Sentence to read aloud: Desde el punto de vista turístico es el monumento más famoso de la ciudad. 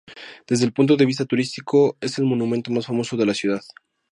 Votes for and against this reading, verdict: 2, 0, accepted